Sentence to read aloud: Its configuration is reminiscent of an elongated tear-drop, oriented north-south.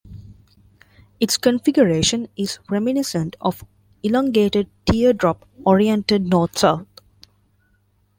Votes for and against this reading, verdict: 1, 2, rejected